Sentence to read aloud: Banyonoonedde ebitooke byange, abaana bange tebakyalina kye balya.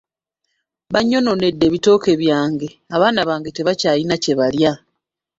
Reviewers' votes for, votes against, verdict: 1, 2, rejected